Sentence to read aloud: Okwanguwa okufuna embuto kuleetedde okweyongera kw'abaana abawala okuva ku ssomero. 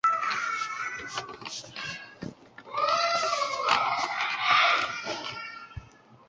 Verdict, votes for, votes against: rejected, 0, 2